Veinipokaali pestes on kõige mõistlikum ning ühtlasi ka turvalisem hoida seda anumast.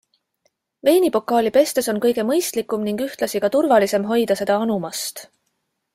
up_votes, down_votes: 2, 0